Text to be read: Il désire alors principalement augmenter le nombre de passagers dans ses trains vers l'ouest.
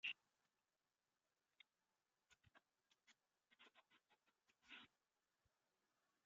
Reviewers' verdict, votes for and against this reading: rejected, 0, 2